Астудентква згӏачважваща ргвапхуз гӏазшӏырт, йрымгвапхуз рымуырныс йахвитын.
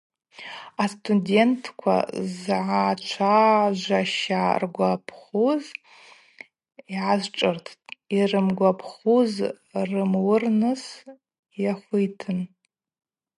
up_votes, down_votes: 2, 2